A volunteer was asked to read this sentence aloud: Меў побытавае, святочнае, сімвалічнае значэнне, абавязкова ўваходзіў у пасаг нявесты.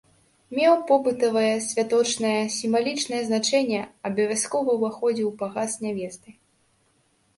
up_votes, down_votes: 0, 2